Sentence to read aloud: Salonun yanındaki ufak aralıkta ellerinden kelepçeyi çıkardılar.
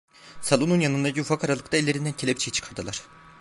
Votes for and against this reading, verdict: 1, 2, rejected